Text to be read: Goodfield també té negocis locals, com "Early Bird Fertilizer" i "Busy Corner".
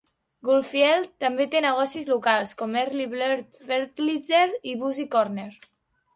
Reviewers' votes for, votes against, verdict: 1, 2, rejected